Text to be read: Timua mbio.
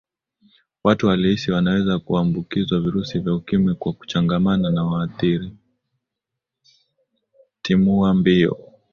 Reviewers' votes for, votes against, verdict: 1, 5, rejected